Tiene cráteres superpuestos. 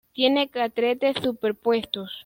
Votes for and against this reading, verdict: 1, 2, rejected